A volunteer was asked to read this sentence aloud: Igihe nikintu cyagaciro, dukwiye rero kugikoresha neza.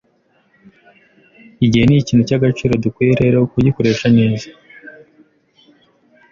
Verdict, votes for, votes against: accepted, 2, 0